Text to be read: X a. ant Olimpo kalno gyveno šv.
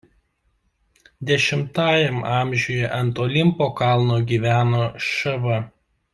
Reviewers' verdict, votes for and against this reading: rejected, 1, 2